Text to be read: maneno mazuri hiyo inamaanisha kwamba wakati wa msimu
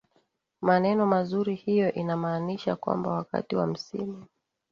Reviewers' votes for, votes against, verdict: 1, 2, rejected